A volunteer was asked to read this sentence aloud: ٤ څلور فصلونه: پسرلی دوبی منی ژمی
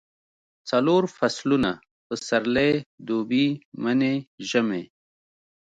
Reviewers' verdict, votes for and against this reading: rejected, 0, 2